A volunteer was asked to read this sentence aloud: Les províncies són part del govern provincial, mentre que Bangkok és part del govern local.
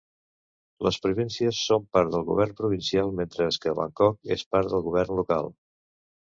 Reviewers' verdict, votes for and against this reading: accepted, 2, 0